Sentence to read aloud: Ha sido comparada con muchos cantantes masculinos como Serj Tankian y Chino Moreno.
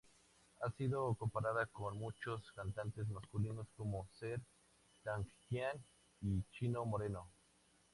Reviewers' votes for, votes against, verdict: 2, 0, accepted